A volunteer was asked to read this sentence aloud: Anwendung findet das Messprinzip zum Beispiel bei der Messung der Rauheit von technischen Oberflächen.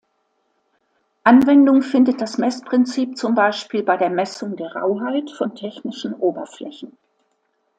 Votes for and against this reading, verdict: 2, 0, accepted